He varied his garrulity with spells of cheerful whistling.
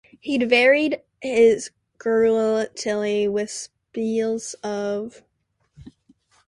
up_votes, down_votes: 0, 2